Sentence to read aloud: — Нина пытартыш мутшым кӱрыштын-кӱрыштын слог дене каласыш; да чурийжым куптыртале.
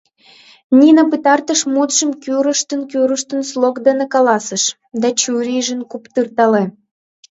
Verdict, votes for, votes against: accepted, 2, 1